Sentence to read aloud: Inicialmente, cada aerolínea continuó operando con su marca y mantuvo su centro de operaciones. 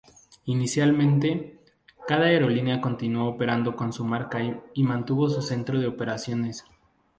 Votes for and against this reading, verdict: 2, 2, rejected